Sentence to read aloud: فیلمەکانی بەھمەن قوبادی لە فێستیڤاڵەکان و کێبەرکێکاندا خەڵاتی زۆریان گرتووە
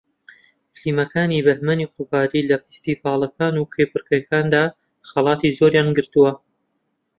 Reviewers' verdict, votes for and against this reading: rejected, 0, 2